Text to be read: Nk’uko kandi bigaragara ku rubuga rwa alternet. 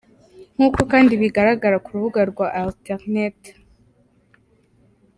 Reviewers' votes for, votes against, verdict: 2, 0, accepted